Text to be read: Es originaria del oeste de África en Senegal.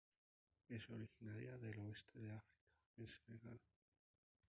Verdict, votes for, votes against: rejected, 0, 4